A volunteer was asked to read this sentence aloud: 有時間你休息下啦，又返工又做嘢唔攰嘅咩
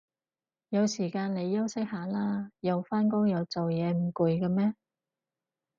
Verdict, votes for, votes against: accepted, 4, 0